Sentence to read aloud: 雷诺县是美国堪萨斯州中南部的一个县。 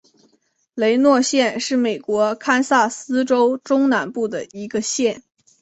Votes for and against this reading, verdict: 4, 0, accepted